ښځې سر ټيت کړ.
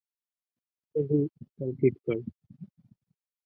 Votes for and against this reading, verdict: 1, 2, rejected